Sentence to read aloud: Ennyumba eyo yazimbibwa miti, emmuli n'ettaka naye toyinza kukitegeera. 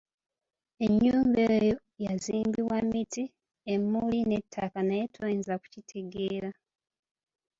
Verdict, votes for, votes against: rejected, 0, 2